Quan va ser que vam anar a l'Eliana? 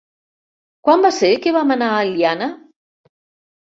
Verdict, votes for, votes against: rejected, 0, 2